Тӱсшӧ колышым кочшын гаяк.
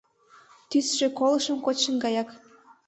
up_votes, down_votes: 2, 0